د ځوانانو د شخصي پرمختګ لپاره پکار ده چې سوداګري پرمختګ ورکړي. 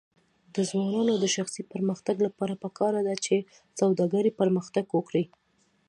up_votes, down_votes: 2, 0